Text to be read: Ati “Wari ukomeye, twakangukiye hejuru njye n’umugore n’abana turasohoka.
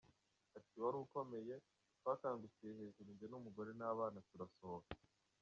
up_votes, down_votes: 1, 2